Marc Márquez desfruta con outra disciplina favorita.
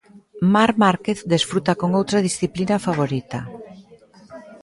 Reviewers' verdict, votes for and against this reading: rejected, 0, 2